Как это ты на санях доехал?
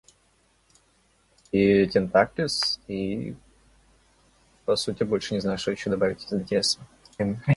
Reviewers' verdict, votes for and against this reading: rejected, 0, 2